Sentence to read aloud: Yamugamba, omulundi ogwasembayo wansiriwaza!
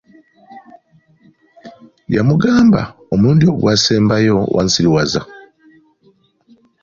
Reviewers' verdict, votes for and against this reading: accepted, 2, 0